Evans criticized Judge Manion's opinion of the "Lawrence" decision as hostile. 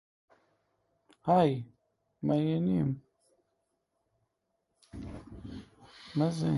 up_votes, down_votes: 0, 2